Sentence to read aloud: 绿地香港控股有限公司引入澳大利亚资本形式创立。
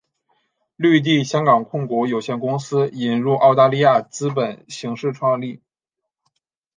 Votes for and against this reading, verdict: 2, 0, accepted